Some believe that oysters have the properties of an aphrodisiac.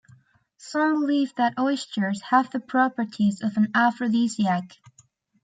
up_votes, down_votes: 2, 0